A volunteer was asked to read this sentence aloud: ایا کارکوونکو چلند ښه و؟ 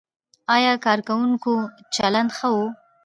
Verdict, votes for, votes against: accepted, 2, 1